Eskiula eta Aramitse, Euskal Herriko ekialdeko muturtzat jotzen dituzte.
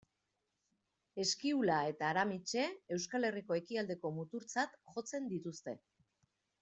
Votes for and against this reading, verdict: 2, 0, accepted